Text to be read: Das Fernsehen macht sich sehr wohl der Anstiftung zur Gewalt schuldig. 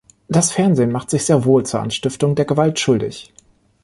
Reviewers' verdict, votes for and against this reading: rejected, 1, 2